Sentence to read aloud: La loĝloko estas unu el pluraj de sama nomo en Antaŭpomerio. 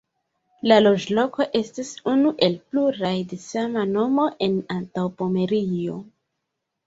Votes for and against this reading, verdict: 1, 2, rejected